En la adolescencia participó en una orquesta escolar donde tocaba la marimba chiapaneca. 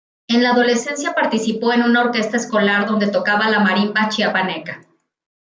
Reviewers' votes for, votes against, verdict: 2, 0, accepted